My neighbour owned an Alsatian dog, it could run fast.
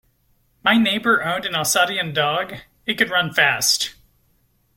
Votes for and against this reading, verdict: 0, 2, rejected